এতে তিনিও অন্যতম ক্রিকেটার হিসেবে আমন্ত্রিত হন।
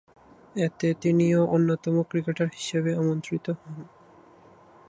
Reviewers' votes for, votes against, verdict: 2, 4, rejected